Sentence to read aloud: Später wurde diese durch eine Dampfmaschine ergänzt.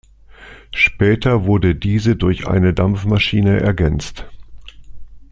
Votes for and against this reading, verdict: 2, 0, accepted